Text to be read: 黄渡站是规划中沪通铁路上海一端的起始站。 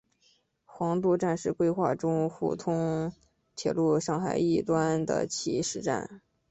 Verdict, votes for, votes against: accepted, 2, 1